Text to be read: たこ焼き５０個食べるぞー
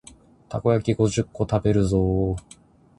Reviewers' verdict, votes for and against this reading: rejected, 0, 2